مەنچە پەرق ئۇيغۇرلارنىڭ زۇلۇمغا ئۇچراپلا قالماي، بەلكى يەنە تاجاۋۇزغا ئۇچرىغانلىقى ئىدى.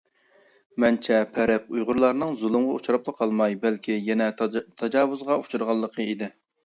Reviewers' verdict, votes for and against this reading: rejected, 0, 2